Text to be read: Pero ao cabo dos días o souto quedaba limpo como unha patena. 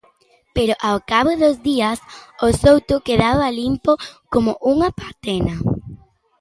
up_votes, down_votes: 2, 0